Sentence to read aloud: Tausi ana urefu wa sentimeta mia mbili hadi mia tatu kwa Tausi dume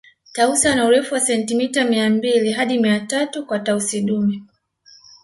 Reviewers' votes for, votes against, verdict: 2, 0, accepted